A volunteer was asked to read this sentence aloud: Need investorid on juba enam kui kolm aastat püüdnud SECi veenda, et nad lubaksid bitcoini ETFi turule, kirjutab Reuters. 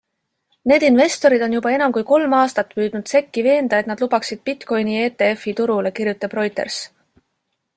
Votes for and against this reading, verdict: 2, 0, accepted